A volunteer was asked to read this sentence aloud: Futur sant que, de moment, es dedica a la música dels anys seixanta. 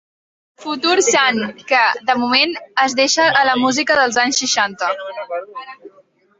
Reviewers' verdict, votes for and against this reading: rejected, 0, 2